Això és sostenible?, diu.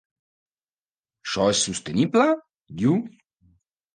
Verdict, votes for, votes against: rejected, 1, 2